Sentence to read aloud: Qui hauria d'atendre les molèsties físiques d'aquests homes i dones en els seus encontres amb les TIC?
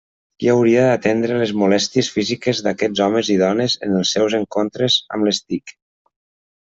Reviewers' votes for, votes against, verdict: 1, 2, rejected